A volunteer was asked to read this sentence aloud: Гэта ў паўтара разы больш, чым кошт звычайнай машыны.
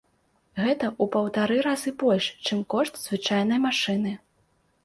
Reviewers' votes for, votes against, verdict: 2, 0, accepted